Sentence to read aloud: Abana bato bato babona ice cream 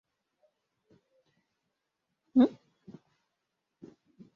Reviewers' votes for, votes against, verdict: 0, 2, rejected